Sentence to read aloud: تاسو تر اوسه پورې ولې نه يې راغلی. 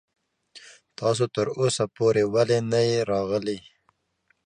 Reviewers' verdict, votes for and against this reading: accepted, 2, 0